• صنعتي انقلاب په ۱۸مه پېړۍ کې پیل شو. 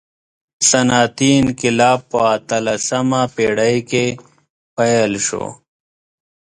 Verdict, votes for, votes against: rejected, 0, 2